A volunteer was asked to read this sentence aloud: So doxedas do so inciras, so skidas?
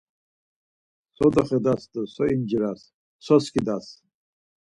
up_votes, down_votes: 4, 0